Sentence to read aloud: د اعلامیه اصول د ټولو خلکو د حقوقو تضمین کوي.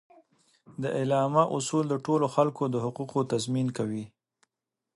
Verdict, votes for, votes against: accepted, 2, 0